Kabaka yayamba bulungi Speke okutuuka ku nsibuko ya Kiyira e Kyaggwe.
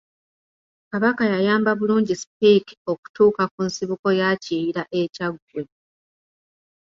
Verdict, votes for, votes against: rejected, 1, 2